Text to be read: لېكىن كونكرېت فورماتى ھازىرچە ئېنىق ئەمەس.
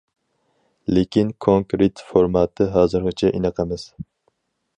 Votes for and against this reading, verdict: 0, 4, rejected